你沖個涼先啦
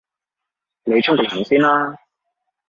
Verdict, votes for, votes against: rejected, 1, 2